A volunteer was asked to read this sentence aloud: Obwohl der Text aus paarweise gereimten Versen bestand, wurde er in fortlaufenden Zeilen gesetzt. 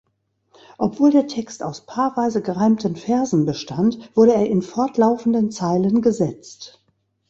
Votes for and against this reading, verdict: 2, 0, accepted